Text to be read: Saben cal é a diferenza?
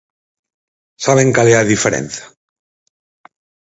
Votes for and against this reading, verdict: 4, 0, accepted